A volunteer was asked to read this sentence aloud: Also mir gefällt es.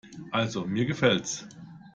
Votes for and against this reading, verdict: 1, 2, rejected